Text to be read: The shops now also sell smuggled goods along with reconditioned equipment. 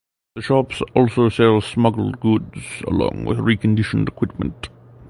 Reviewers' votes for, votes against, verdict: 0, 2, rejected